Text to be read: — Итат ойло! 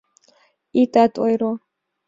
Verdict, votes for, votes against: rejected, 0, 2